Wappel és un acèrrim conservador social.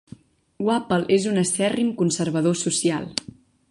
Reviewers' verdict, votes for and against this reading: rejected, 1, 2